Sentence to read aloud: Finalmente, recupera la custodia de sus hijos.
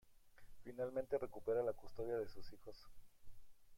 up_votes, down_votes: 0, 2